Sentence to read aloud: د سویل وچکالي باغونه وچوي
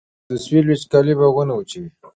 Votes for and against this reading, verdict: 0, 2, rejected